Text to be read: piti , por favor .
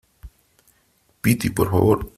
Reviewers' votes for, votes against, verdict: 2, 0, accepted